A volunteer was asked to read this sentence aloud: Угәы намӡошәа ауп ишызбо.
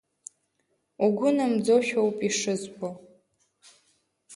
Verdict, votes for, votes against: rejected, 0, 2